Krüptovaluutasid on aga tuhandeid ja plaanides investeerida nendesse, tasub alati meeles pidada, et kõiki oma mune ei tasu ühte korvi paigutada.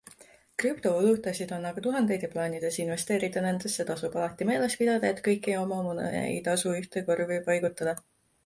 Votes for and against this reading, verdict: 2, 0, accepted